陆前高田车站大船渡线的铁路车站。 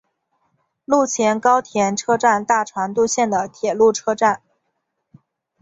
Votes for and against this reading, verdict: 4, 0, accepted